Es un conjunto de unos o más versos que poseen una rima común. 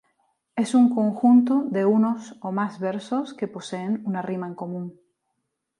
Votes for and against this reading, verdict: 2, 0, accepted